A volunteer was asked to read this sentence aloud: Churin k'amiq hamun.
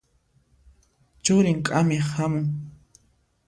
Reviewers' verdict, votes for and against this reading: accepted, 2, 0